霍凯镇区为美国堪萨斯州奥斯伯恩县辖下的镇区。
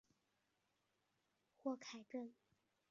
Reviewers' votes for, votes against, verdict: 0, 3, rejected